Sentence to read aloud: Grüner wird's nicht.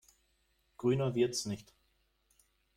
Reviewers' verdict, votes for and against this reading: accepted, 2, 0